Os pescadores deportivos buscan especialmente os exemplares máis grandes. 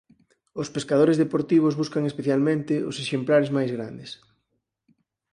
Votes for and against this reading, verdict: 4, 0, accepted